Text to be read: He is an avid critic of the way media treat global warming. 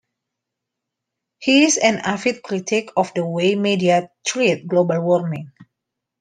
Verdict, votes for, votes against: accepted, 2, 0